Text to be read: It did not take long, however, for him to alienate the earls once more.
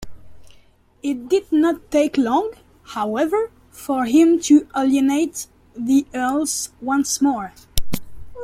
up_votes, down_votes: 2, 1